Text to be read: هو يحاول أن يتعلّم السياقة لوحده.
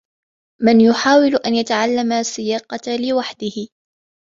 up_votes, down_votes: 1, 2